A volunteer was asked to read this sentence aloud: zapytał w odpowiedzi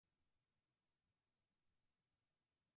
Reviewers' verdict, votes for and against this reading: rejected, 0, 4